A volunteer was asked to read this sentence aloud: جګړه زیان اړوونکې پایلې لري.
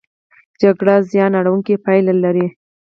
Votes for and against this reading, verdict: 2, 4, rejected